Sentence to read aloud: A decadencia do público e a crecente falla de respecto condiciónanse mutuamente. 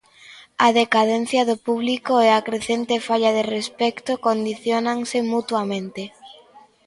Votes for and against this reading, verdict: 2, 0, accepted